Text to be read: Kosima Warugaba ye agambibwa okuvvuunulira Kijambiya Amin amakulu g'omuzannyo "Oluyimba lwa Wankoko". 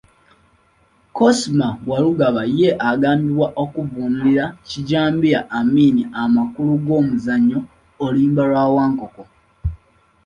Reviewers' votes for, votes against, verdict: 2, 0, accepted